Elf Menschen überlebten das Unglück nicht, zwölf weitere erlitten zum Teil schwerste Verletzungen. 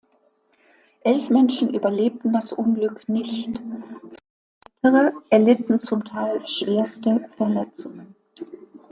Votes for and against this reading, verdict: 0, 3, rejected